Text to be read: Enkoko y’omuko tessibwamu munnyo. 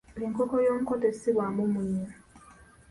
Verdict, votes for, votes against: accepted, 2, 0